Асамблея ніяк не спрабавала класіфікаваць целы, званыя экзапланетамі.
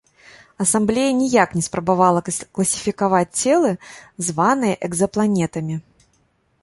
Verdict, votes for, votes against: rejected, 1, 3